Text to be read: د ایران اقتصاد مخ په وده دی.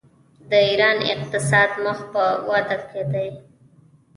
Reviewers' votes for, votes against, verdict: 0, 2, rejected